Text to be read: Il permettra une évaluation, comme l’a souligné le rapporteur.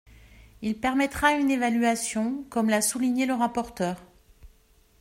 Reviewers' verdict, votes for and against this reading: accepted, 2, 0